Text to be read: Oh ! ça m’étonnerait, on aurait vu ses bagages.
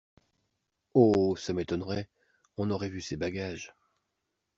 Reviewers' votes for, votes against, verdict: 2, 0, accepted